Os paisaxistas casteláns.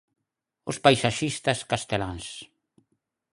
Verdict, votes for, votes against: accepted, 4, 0